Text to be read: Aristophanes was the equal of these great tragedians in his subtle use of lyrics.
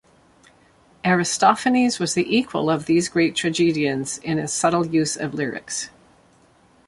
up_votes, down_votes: 2, 1